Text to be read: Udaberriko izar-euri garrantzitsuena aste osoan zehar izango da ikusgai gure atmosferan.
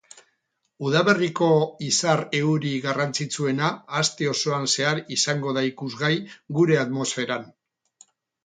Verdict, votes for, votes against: accepted, 2, 0